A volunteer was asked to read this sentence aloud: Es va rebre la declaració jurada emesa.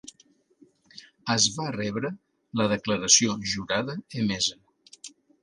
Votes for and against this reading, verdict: 2, 0, accepted